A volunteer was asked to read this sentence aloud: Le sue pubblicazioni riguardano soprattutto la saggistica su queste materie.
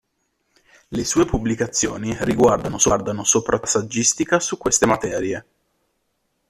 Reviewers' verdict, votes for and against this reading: rejected, 0, 2